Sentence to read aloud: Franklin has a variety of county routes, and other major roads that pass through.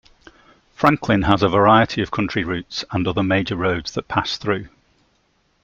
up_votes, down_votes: 2, 1